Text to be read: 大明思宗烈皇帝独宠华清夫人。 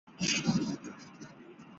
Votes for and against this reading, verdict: 0, 2, rejected